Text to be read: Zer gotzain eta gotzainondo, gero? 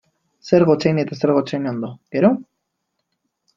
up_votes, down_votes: 1, 2